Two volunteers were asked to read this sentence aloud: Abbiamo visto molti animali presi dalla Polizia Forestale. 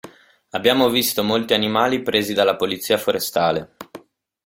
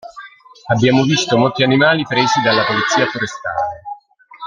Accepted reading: first